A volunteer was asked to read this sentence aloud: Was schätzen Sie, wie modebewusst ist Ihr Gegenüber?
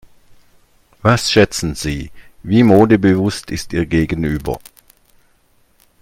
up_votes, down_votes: 2, 0